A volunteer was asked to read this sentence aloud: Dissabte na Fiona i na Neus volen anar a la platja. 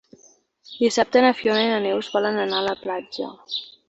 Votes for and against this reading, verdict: 3, 1, accepted